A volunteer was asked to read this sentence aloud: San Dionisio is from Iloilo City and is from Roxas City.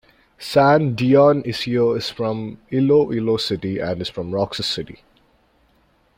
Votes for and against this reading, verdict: 2, 0, accepted